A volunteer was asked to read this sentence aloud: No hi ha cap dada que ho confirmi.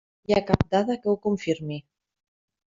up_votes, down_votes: 1, 2